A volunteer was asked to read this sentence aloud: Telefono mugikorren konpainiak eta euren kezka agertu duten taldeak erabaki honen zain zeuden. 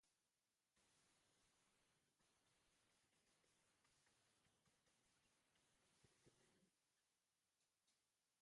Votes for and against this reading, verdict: 0, 2, rejected